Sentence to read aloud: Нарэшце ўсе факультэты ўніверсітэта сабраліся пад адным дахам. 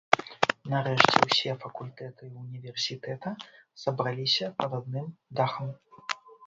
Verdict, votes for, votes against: rejected, 1, 2